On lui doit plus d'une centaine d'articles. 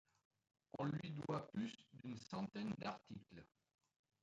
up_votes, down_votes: 0, 2